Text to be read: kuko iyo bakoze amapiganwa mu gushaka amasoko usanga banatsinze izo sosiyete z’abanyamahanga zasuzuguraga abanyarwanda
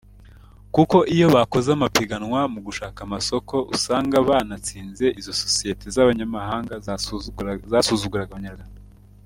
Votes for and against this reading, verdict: 1, 2, rejected